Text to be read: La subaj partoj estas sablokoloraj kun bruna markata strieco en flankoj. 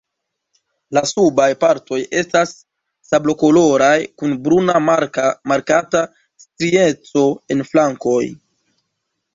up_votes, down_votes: 0, 2